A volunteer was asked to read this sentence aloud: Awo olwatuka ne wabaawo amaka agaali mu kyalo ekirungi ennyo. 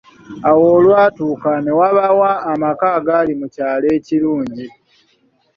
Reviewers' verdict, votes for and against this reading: rejected, 0, 2